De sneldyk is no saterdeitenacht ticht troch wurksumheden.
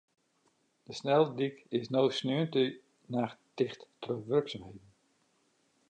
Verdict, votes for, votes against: rejected, 1, 2